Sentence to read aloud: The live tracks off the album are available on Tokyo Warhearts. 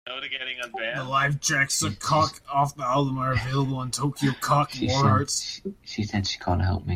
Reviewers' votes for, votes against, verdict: 0, 2, rejected